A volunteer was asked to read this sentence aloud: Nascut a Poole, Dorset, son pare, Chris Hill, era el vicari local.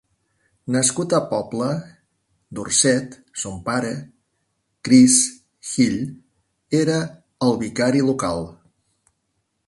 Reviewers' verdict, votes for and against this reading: rejected, 0, 2